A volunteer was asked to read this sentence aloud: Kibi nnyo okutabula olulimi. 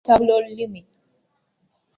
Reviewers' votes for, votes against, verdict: 1, 2, rejected